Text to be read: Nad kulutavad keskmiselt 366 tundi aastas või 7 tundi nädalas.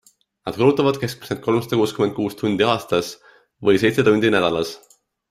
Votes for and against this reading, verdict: 0, 2, rejected